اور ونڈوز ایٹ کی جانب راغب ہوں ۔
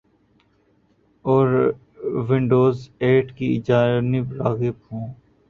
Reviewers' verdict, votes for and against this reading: rejected, 1, 2